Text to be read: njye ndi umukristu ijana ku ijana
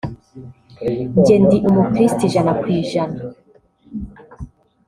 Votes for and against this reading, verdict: 2, 0, accepted